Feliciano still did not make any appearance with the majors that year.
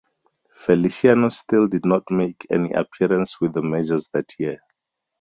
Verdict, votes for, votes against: accepted, 2, 0